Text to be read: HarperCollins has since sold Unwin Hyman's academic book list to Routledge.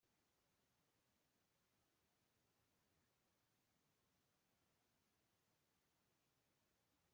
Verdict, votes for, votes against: rejected, 0, 2